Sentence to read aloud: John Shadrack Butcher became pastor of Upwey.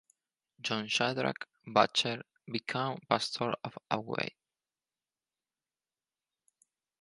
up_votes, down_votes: 2, 2